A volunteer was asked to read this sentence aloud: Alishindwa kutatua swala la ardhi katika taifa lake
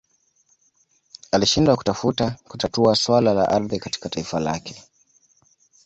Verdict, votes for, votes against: rejected, 0, 2